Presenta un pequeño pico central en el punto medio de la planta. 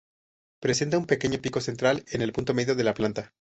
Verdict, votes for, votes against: accepted, 2, 0